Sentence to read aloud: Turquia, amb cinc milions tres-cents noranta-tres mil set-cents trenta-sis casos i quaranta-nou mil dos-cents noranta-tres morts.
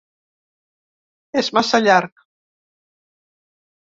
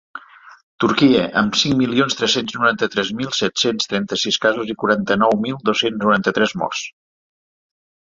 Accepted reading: second